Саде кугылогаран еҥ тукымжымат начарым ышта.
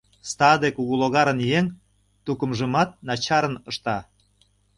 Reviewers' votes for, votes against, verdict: 1, 2, rejected